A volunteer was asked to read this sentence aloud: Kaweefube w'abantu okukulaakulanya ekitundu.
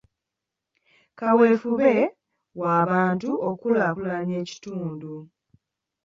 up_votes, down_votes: 2, 1